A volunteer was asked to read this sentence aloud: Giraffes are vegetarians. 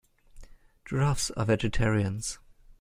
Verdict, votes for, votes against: accepted, 5, 0